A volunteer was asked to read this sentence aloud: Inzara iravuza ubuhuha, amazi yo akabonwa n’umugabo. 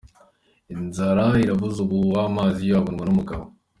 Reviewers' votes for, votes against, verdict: 2, 0, accepted